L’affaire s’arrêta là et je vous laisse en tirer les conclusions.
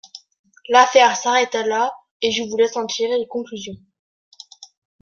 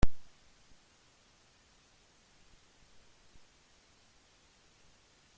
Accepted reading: first